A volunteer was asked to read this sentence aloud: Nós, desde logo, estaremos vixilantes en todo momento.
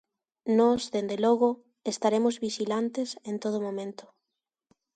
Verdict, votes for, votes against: rejected, 0, 2